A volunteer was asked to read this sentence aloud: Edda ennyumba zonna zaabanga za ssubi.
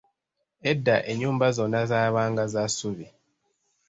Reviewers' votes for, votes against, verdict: 2, 0, accepted